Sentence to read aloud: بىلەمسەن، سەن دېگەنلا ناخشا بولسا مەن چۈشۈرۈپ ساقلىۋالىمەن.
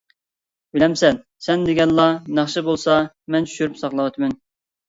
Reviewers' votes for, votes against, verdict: 1, 2, rejected